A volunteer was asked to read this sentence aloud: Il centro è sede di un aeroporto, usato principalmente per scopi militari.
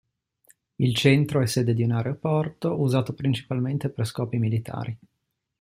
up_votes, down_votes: 2, 0